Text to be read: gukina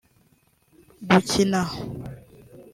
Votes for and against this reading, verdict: 2, 0, accepted